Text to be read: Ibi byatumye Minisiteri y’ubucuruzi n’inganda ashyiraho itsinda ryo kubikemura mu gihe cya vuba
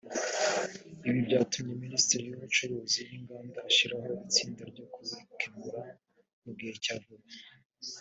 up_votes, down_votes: 1, 2